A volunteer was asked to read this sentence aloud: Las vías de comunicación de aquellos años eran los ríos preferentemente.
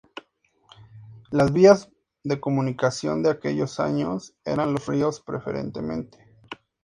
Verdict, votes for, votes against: accepted, 6, 0